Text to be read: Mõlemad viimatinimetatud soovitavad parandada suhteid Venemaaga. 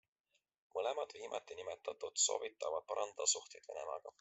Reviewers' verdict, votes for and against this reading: accepted, 2, 0